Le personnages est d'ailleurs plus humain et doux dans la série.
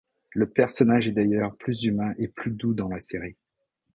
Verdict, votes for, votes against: rejected, 0, 2